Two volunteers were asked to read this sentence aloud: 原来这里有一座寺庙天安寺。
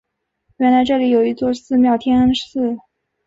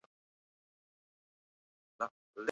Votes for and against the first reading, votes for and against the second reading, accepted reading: 5, 0, 0, 3, first